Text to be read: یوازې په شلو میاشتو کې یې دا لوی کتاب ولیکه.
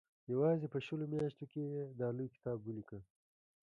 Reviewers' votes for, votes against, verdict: 2, 0, accepted